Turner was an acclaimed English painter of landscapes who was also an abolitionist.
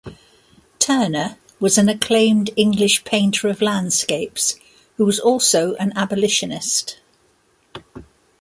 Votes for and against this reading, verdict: 2, 0, accepted